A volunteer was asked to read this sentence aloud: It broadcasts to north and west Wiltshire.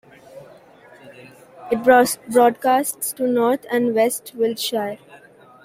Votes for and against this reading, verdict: 0, 2, rejected